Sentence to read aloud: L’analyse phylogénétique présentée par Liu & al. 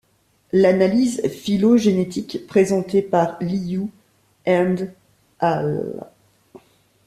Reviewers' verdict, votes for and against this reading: rejected, 1, 2